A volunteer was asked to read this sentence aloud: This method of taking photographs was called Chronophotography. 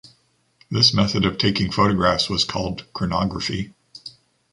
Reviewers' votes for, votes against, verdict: 0, 3, rejected